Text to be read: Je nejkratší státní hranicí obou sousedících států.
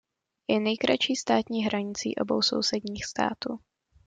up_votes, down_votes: 0, 2